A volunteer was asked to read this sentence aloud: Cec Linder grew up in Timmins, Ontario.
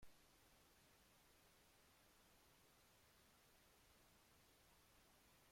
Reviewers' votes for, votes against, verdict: 0, 2, rejected